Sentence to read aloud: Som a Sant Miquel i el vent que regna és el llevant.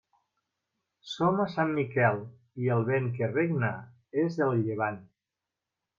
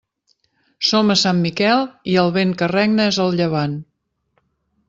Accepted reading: second